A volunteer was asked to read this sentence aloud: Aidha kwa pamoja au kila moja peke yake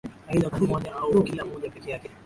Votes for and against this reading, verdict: 0, 2, rejected